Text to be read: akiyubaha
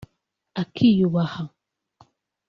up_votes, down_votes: 2, 0